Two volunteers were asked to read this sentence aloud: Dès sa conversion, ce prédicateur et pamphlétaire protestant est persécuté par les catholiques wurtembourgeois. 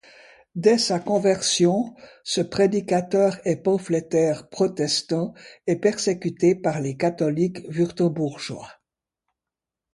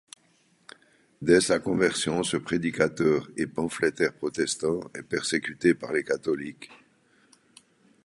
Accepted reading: first